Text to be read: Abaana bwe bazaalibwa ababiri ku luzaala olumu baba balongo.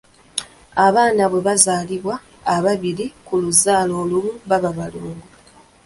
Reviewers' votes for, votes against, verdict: 1, 2, rejected